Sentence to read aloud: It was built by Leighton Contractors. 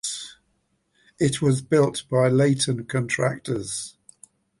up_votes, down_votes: 1, 2